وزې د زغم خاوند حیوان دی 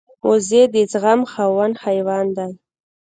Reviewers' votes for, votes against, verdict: 0, 2, rejected